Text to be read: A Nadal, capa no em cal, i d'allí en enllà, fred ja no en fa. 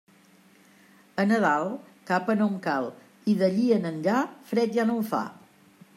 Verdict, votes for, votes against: accepted, 2, 0